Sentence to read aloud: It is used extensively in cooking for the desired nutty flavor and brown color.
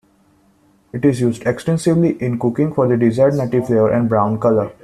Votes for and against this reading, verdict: 2, 0, accepted